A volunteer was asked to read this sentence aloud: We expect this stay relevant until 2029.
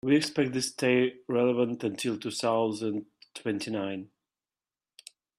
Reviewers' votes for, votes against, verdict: 0, 2, rejected